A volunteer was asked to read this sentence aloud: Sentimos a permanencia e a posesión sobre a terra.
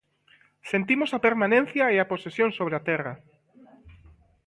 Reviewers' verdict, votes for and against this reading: rejected, 1, 2